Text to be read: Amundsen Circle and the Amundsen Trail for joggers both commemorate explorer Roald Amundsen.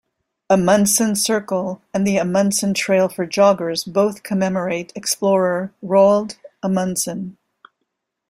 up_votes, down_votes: 2, 0